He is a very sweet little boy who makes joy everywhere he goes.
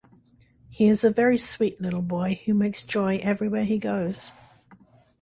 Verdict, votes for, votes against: accepted, 2, 0